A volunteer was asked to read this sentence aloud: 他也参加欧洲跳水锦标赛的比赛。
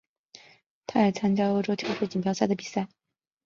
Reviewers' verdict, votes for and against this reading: accepted, 3, 1